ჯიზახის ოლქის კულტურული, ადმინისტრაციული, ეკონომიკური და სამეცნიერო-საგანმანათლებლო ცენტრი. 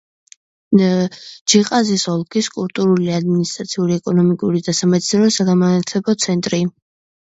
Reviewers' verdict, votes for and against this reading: rejected, 0, 2